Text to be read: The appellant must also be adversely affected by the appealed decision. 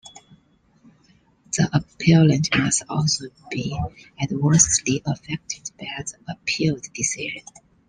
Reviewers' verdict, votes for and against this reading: rejected, 0, 2